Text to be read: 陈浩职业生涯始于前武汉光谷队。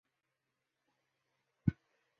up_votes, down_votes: 0, 4